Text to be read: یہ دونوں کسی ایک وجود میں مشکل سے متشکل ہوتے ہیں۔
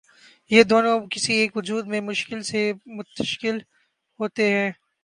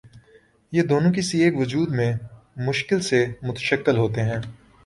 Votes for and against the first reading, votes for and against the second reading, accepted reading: 0, 2, 2, 0, second